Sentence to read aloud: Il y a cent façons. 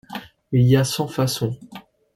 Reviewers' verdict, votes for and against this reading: accepted, 2, 0